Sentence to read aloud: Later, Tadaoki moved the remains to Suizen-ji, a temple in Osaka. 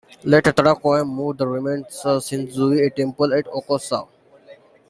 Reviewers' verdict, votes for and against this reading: rejected, 1, 2